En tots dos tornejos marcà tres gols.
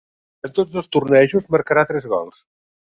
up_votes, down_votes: 1, 2